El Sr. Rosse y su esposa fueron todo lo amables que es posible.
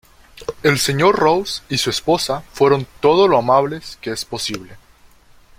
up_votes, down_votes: 1, 2